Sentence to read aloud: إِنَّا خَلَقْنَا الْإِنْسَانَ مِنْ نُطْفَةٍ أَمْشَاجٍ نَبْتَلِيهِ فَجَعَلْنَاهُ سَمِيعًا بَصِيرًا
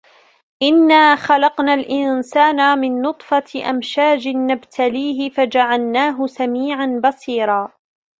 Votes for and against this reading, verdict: 2, 0, accepted